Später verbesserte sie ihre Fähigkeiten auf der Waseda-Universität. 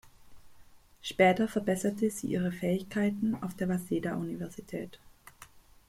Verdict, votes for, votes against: accepted, 2, 0